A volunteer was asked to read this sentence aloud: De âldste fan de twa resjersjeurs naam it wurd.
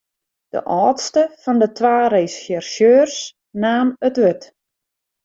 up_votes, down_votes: 1, 2